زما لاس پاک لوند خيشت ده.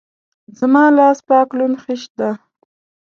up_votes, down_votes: 2, 0